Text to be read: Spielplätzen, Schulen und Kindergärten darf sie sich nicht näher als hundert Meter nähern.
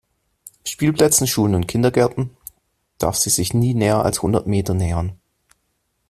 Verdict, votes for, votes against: rejected, 0, 2